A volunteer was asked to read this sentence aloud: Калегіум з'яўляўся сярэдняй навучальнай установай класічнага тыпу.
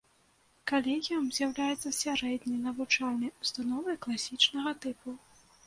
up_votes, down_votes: 1, 2